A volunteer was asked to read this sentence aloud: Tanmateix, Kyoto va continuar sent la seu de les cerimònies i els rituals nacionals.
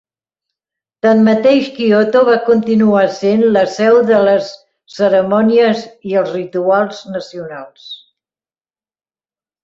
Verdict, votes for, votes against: accepted, 2, 0